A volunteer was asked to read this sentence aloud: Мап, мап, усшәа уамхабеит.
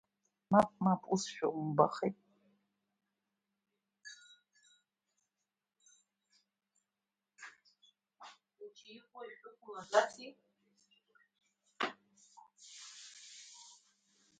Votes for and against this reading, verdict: 0, 2, rejected